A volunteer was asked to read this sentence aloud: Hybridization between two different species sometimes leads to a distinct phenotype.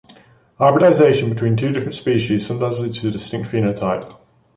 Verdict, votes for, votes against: accepted, 2, 0